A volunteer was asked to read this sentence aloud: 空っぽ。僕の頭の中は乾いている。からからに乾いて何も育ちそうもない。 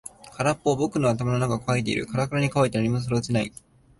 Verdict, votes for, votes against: rejected, 2, 3